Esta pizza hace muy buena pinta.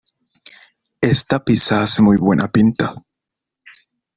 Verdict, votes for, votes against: accepted, 2, 0